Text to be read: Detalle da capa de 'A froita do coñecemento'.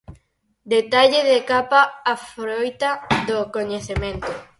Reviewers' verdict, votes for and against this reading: rejected, 0, 4